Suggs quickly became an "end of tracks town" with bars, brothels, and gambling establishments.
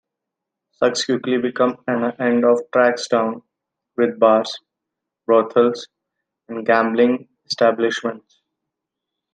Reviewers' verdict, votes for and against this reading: rejected, 1, 2